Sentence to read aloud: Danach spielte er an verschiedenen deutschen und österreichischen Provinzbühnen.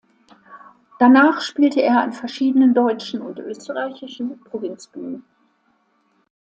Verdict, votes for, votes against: accepted, 2, 0